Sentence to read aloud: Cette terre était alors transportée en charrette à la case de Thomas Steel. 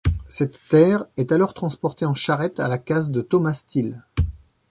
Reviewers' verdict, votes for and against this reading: rejected, 0, 2